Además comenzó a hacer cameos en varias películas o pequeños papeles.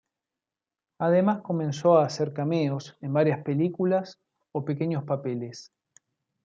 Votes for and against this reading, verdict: 1, 2, rejected